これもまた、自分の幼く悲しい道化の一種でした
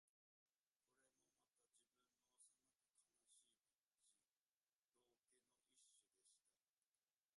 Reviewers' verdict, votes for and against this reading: rejected, 0, 2